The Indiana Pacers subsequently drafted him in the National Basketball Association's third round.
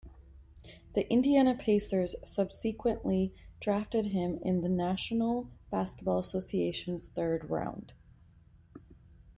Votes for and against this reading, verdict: 0, 2, rejected